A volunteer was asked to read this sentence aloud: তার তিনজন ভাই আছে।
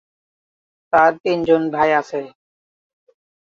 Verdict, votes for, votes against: rejected, 4, 4